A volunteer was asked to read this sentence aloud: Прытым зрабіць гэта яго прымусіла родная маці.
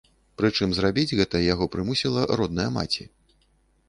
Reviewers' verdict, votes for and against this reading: rejected, 0, 3